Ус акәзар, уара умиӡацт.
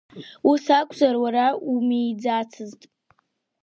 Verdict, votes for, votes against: rejected, 1, 2